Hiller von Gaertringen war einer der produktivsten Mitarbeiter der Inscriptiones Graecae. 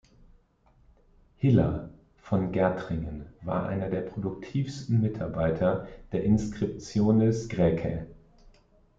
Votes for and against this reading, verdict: 2, 0, accepted